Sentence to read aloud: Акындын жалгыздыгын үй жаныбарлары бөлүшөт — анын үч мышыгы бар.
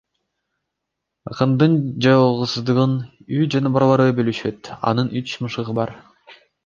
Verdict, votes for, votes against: accepted, 2, 1